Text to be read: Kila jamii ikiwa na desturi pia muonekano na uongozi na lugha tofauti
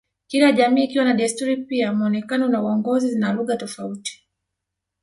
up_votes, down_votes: 2, 3